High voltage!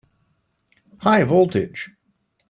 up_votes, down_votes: 2, 0